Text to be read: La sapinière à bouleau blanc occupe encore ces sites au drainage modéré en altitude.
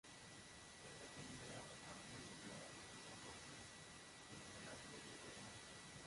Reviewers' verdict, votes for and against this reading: rejected, 0, 2